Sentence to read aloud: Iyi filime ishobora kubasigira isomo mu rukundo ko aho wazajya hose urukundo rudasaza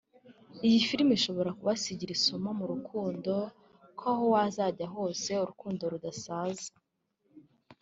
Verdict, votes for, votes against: accepted, 2, 0